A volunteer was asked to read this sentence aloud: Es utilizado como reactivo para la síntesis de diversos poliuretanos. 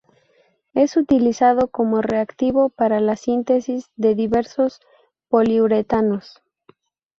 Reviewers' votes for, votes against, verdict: 4, 0, accepted